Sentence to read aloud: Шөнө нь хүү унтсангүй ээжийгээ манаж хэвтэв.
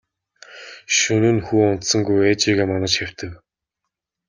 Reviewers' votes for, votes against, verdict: 2, 0, accepted